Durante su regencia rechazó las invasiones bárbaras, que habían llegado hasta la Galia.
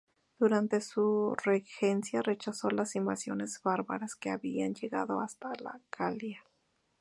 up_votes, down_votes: 2, 0